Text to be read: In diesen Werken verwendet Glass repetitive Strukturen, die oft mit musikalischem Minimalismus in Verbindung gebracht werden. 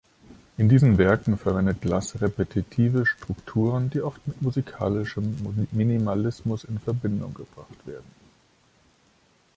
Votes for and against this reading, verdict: 0, 2, rejected